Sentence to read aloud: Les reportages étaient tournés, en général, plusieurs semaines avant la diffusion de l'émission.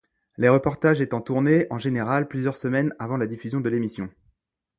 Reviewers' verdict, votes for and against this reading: rejected, 0, 2